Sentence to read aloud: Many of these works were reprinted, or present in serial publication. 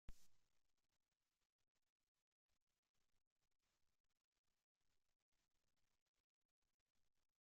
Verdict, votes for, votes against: rejected, 0, 2